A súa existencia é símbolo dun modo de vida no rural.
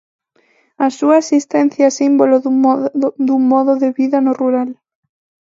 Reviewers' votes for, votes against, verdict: 0, 2, rejected